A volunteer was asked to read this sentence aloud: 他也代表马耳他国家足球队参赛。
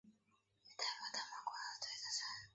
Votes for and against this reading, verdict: 0, 2, rejected